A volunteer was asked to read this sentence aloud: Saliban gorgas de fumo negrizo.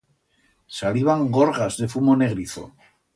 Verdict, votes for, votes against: accepted, 2, 0